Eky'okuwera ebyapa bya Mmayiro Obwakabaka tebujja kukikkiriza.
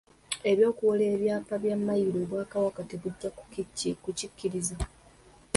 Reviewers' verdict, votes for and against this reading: accepted, 2, 1